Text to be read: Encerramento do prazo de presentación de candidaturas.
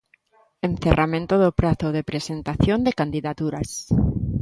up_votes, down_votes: 3, 0